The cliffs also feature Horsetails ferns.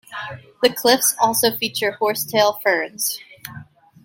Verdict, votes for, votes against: accepted, 2, 1